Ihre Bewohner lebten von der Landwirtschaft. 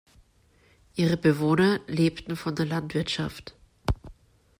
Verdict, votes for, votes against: accepted, 2, 0